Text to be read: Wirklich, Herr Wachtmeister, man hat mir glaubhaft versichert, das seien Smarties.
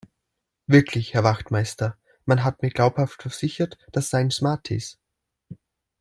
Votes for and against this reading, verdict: 2, 0, accepted